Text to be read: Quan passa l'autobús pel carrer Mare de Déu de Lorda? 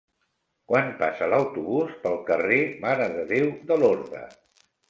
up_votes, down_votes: 1, 2